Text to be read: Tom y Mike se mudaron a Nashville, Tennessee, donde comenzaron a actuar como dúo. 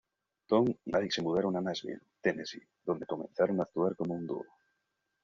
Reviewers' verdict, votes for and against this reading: rejected, 1, 2